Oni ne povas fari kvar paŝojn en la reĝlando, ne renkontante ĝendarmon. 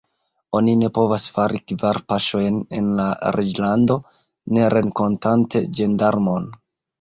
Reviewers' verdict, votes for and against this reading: accepted, 2, 0